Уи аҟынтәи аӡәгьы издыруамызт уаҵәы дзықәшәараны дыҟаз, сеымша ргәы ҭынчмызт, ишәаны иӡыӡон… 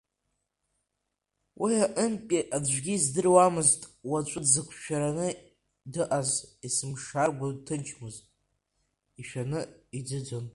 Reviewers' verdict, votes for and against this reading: accepted, 3, 1